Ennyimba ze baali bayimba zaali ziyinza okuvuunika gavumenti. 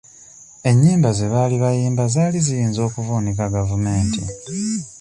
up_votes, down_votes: 2, 0